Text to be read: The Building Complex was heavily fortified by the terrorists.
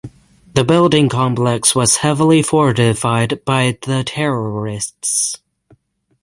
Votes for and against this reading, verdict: 3, 0, accepted